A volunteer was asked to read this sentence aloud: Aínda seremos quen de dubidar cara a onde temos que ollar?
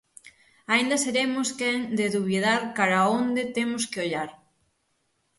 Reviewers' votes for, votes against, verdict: 3, 3, rejected